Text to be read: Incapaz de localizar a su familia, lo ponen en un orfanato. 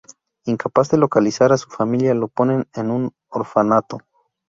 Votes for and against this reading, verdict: 2, 2, rejected